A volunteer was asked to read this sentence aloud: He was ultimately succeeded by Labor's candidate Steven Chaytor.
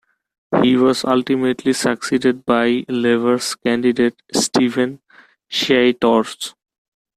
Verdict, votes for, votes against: rejected, 1, 2